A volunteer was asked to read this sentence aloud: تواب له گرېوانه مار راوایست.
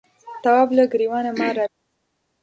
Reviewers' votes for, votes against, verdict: 1, 2, rejected